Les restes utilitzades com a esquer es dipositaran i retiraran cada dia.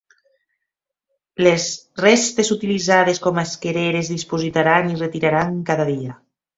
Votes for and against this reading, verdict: 0, 2, rejected